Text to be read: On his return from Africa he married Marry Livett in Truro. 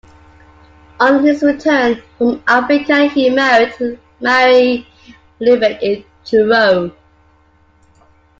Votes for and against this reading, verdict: 2, 1, accepted